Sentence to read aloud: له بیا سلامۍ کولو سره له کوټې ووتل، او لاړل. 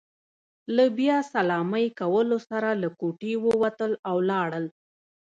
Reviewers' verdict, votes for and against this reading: rejected, 0, 2